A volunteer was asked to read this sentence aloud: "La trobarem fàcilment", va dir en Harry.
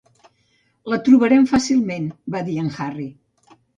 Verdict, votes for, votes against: accepted, 2, 0